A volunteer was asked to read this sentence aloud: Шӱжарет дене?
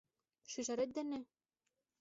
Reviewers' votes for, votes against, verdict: 2, 0, accepted